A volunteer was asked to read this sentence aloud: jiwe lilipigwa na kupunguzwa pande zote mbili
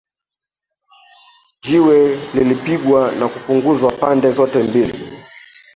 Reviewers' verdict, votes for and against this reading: accepted, 3, 0